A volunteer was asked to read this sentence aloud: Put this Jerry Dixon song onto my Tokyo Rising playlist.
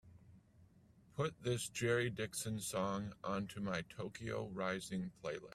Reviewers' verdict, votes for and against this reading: rejected, 1, 2